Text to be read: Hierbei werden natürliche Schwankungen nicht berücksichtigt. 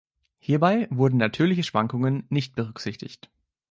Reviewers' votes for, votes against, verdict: 0, 2, rejected